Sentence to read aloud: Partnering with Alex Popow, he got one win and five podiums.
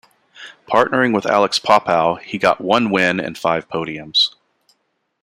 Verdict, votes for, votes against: accepted, 2, 0